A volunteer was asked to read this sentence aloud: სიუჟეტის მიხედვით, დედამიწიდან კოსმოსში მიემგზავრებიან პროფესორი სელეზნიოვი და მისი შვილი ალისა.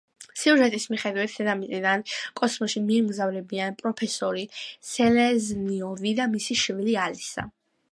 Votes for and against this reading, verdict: 2, 0, accepted